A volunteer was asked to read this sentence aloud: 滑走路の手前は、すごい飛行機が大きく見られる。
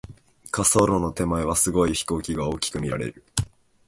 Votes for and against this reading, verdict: 3, 0, accepted